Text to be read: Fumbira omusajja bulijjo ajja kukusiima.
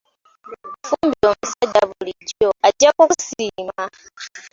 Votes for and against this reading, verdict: 1, 2, rejected